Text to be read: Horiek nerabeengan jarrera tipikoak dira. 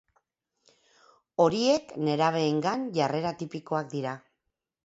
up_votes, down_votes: 4, 0